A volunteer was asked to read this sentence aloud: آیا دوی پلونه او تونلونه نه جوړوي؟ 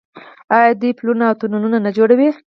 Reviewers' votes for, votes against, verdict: 0, 4, rejected